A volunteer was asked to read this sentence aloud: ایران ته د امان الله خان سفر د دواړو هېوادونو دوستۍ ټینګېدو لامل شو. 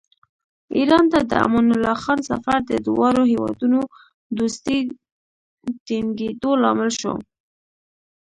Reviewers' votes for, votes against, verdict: 2, 1, accepted